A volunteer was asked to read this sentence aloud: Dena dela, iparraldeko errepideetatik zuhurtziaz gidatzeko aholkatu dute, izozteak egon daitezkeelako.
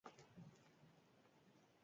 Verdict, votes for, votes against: rejected, 0, 4